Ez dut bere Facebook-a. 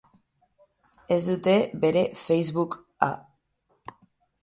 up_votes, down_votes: 3, 3